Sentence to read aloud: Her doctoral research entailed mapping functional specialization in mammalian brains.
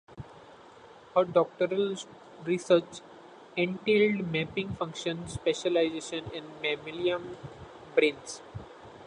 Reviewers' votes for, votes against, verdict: 2, 0, accepted